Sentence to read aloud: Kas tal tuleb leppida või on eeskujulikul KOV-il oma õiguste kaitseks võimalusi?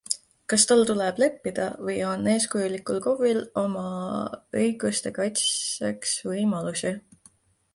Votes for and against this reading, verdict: 2, 0, accepted